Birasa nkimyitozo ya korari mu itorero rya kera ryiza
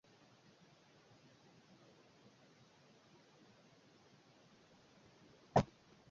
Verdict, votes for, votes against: rejected, 0, 2